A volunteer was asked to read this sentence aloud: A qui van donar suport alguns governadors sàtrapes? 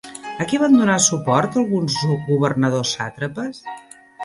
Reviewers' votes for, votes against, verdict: 1, 2, rejected